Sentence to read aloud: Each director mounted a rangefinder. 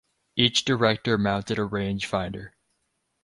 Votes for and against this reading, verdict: 4, 0, accepted